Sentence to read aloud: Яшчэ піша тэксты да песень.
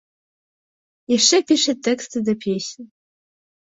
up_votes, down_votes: 2, 0